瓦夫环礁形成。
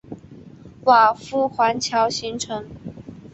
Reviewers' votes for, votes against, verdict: 6, 0, accepted